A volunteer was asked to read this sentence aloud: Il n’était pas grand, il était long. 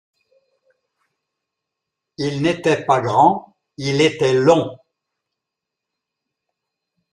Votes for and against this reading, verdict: 2, 0, accepted